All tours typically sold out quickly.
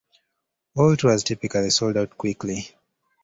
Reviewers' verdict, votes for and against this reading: accepted, 2, 0